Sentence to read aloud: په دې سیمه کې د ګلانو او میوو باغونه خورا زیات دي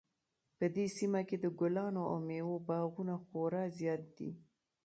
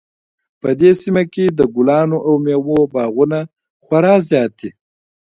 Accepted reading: second